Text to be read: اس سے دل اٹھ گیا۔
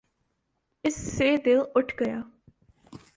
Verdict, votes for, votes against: accepted, 3, 0